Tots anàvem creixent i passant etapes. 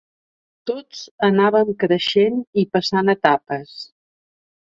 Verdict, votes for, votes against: accepted, 2, 0